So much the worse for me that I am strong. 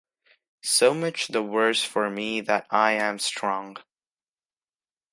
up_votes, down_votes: 2, 0